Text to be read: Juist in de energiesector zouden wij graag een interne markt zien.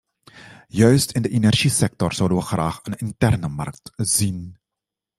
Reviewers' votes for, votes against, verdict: 2, 0, accepted